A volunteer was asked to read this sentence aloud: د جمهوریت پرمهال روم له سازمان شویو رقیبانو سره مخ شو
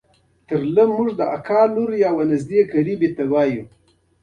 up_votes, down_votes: 1, 2